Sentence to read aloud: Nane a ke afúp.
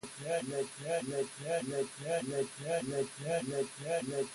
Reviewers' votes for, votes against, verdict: 0, 2, rejected